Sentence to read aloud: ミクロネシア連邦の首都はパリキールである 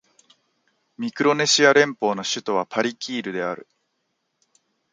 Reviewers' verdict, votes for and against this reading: accepted, 3, 0